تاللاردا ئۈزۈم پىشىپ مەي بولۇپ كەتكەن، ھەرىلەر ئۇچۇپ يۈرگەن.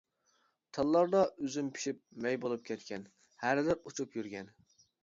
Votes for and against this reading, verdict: 2, 0, accepted